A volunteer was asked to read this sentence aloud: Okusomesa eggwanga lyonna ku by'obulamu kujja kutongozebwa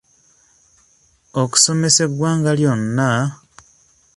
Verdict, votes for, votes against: rejected, 0, 2